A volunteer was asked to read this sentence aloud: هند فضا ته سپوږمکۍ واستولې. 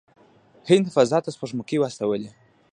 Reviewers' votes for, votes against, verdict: 2, 1, accepted